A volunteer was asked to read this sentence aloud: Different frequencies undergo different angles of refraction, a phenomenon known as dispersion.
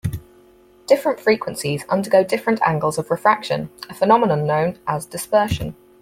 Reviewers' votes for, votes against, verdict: 4, 0, accepted